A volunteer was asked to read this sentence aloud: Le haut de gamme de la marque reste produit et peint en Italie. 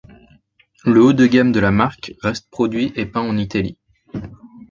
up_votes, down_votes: 2, 0